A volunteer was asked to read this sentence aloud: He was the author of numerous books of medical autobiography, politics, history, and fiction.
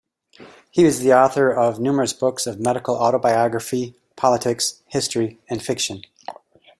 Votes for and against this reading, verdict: 2, 0, accepted